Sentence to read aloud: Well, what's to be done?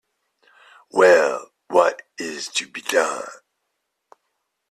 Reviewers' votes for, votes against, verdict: 1, 2, rejected